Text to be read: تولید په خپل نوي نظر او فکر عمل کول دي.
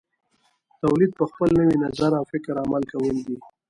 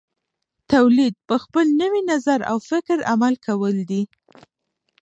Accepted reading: first